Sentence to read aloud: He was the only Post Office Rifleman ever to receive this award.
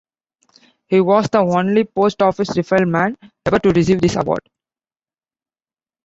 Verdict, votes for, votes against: accepted, 2, 0